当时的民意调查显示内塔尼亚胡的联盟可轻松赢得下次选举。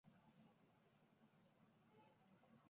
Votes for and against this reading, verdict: 0, 2, rejected